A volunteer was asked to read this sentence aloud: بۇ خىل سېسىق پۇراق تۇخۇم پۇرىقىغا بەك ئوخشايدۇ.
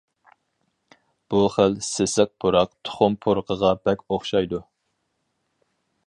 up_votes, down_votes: 4, 0